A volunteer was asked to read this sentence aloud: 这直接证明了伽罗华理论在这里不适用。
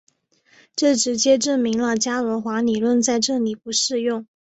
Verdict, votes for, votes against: accepted, 2, 1